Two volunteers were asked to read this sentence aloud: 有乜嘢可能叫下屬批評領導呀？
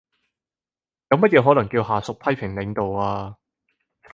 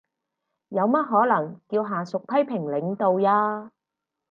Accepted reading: first